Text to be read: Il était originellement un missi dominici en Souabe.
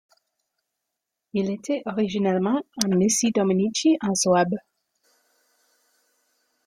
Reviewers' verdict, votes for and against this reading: accepted, 2, 1